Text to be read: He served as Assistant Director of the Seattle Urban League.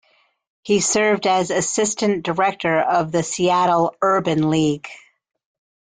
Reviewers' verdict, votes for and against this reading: accepted, 2, 0